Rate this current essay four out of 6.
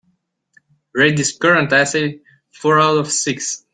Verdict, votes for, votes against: rejected, 0, 2